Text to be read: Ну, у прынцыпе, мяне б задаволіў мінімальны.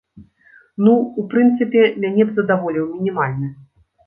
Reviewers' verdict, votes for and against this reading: accepted, 2, 0